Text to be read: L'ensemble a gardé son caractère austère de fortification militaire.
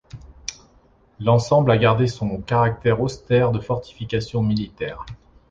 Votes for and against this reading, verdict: 3, 0, accepted